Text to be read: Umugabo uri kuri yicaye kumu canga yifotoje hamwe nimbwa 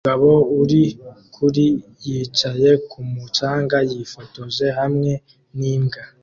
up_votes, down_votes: 2, 1